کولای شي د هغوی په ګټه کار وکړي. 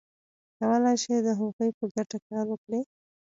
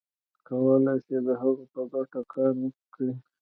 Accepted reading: first